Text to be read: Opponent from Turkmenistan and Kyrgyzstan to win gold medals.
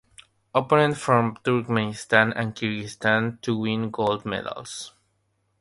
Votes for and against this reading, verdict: 0, 3, rejected